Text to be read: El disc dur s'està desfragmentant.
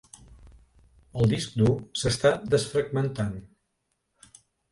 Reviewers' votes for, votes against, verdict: 2, 0, accepted